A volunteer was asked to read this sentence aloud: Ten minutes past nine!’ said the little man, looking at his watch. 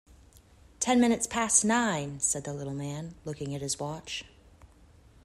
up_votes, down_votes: 2, 0